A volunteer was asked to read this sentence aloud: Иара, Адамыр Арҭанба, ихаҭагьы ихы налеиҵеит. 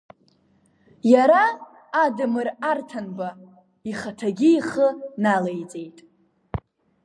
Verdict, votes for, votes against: rejected, 1, 2